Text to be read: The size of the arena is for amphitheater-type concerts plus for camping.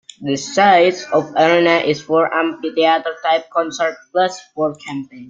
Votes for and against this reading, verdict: 2, 0, accepted